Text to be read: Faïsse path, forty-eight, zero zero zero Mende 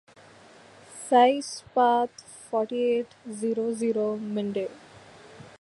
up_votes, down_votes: 1, 2